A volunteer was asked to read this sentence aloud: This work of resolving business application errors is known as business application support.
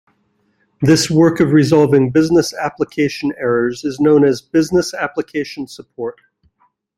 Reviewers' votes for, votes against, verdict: 2, 0, accepted